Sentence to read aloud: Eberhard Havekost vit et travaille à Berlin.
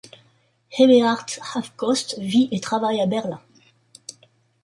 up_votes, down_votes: 1, 2